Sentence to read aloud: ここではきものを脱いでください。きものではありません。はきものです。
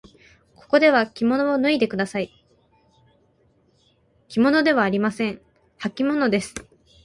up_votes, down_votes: 6, 0